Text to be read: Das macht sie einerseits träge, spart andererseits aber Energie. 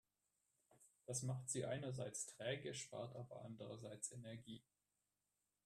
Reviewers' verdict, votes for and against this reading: rejected, 0, 2